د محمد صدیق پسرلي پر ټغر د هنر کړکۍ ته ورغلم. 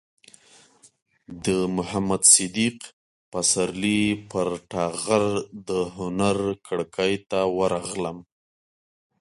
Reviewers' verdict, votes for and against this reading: accepted, 2, 0